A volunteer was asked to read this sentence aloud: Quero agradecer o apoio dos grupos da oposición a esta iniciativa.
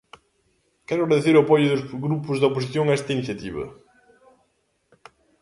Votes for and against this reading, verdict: 0, 2, rejected